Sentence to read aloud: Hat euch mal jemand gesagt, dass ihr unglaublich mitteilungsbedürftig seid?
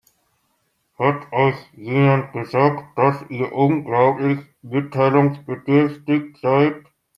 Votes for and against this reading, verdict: 0, 2, rejected